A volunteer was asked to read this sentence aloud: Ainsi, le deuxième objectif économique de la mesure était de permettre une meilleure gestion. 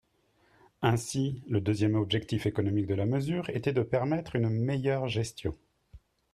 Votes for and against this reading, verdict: 3, 0, accepted